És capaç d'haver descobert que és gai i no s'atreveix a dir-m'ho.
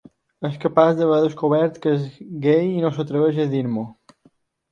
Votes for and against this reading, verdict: 2, 0, accepted